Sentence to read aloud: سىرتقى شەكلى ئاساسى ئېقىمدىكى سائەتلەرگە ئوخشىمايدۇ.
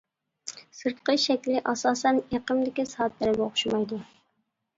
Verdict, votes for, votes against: rejected, 0, 2